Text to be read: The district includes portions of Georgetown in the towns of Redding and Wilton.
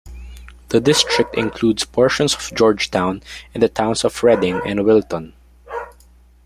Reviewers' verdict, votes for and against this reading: rejected, 1, 2